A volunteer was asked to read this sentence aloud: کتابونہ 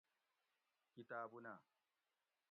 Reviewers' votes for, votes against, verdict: 2, 0, accepted